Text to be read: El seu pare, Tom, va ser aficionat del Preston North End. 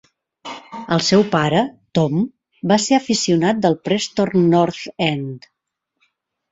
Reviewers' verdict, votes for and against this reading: rejected, 0, 2